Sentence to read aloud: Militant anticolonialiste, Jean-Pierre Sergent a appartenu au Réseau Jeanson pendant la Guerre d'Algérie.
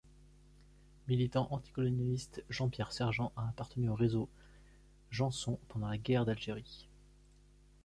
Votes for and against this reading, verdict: 2, 0, accepted